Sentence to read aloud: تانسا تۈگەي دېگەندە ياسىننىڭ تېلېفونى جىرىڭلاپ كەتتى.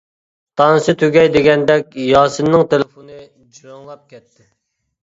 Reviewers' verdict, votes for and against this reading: rejected, 0, 2